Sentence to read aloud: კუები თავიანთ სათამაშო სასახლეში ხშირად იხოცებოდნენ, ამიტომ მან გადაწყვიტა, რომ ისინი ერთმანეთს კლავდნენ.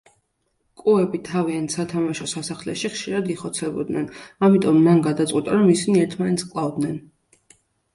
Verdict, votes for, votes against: accepted, 2, 0